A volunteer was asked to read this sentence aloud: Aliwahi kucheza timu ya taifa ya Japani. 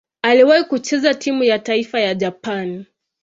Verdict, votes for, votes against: accepted, 2, 0